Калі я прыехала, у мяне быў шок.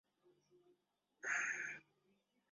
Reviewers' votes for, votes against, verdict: 0, 2, rejected